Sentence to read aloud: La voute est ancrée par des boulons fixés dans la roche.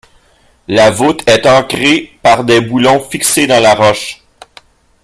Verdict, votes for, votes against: rejected, 2, 3